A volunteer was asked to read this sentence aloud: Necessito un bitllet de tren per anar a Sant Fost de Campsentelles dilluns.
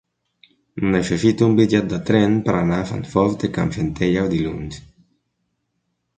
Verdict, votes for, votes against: rejected, 0, 2